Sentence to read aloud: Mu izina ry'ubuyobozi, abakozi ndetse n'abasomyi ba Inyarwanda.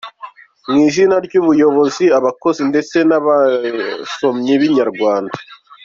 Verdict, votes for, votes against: accepted, 2, 0